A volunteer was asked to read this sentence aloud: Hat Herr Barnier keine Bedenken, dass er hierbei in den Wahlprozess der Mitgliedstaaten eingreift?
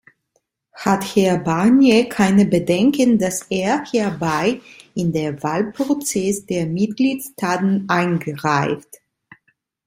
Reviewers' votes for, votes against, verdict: 1, 2, rejected